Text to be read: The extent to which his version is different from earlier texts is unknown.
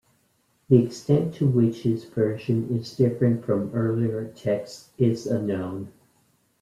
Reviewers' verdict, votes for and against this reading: accepted, 2, 0